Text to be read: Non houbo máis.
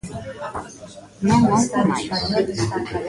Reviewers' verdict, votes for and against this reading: rejected, 0, 2